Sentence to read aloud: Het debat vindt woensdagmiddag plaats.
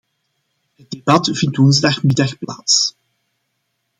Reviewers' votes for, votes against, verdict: 0, 2, rejected